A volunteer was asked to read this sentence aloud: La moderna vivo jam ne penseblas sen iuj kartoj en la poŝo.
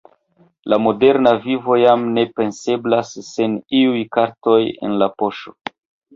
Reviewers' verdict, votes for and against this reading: rejected, 1, 2